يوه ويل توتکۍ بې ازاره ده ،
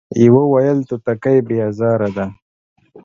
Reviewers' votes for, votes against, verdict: 2, 1, accepted